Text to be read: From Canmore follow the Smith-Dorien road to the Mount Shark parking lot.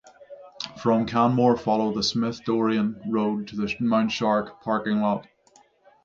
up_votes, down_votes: 6, 0